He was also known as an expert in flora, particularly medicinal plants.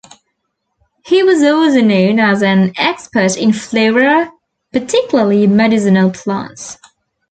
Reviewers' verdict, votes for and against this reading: rejected, 1, 2